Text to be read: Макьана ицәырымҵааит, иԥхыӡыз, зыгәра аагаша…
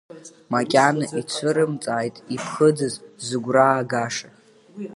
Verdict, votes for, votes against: accepted, 2, 0